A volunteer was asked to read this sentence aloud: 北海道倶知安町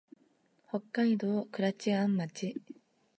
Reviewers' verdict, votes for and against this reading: accepted, 2, 1